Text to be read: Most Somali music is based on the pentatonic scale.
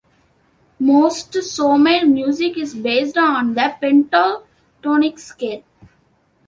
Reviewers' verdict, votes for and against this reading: accepted, 2, 0